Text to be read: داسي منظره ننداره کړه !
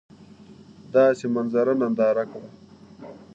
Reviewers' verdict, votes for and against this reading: accepted, 2, 1